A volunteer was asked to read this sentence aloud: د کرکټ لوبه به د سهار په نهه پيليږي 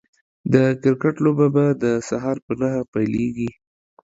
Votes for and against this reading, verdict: 2, 0, accepted